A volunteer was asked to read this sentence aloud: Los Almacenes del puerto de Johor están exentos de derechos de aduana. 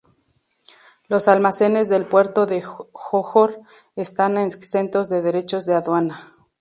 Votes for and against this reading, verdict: 0, 2, rejected